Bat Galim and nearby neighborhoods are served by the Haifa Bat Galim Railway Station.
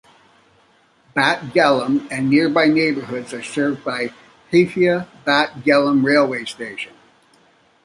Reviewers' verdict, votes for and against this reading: accepted, 2, 0